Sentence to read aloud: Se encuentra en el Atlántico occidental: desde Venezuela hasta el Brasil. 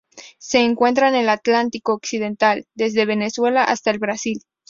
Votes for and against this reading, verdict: 4, 0, accepted